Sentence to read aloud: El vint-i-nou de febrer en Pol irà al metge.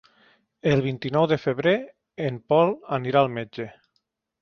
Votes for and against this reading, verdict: 0, 2, rejected